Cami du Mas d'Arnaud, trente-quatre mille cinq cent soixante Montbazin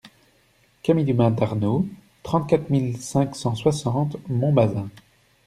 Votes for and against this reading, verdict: 2, 0, accepted